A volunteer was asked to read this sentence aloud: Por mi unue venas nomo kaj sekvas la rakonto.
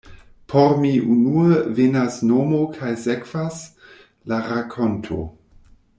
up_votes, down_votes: 2, 0